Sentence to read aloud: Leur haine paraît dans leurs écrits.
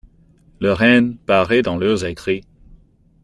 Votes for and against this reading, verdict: 2, 1, accepted